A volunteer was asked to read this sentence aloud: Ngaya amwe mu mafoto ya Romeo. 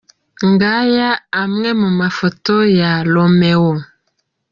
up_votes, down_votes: 2, 0